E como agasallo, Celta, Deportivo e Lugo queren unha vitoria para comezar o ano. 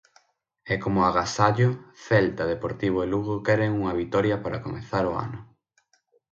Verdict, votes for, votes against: accepted, 6, 0